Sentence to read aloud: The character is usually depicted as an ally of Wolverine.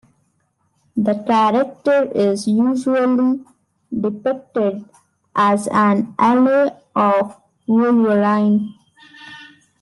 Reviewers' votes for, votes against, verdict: 2, 1, accepted